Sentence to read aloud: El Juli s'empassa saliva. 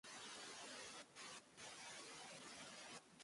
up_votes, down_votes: 0, 2